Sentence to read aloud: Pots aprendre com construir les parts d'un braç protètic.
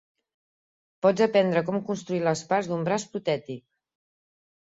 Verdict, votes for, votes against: accepted, 4, 0